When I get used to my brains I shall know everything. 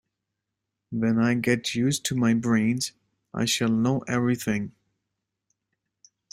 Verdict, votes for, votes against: accepted, 2, 0